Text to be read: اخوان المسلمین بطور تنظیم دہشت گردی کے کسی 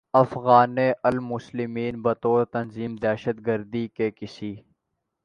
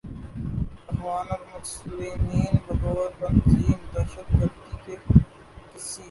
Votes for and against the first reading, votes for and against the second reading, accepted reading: 3, 0, 3, 4, first